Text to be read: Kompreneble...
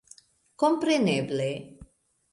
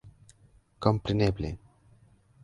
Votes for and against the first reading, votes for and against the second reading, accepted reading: 3, 0, 1, 2, first